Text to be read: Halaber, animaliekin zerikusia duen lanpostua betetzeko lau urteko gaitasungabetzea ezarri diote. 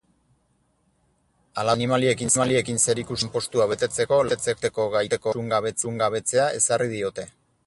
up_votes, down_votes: 0, 2